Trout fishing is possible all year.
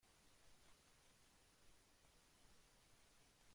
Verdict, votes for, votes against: rejected, 0, 2